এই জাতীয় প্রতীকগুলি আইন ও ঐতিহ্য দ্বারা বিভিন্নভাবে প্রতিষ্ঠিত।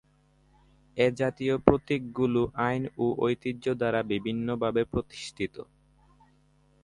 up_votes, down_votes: 0, 2